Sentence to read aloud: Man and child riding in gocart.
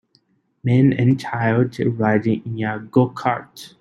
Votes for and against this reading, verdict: 3, 1, accepted